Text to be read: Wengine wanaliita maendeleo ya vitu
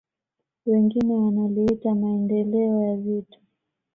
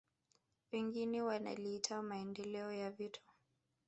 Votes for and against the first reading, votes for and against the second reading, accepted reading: 2, 0, 0, 2, first